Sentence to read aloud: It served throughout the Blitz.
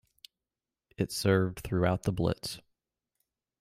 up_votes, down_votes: 2, 0